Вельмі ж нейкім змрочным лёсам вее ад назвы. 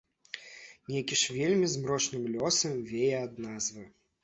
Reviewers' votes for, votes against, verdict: 0, 2, rejected